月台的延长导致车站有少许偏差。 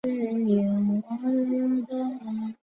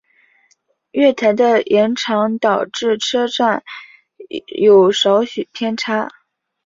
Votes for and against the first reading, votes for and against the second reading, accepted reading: 0, 5, 4, 0, second